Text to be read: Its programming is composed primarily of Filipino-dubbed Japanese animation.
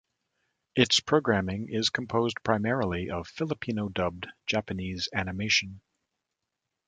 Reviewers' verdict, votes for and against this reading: accepted, 2, 0